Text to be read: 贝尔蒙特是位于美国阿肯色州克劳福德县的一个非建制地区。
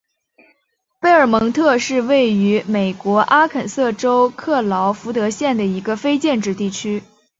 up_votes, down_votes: 2, 1